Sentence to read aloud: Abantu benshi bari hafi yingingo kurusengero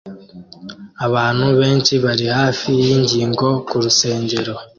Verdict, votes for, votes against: accepted, 2, 0